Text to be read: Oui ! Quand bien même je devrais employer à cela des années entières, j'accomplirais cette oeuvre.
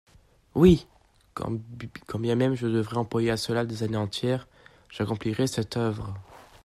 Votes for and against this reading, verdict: 0, 2, rejected